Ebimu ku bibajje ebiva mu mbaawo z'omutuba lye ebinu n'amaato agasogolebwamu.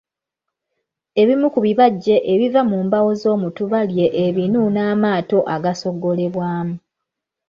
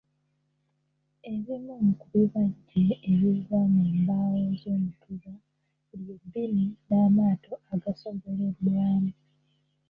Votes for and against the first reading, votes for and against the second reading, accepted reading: 2, 1, 1, 3, first